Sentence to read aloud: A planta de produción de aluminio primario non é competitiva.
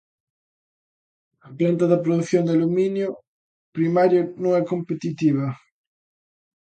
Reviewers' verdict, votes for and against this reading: rejected, 0, 2